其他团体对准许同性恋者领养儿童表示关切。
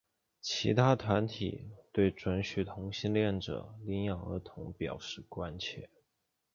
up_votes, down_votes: 2, 0